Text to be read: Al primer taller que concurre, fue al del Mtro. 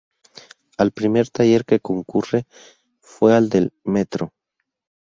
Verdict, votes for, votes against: rejected, 0, 2